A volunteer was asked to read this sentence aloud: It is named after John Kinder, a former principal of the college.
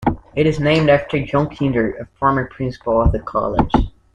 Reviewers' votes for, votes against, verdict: 2, 0, accepted